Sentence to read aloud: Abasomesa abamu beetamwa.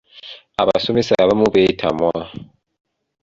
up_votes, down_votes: 2, 0